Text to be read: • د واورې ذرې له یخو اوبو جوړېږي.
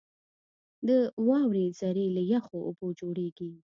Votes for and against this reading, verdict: 2, 0, accepted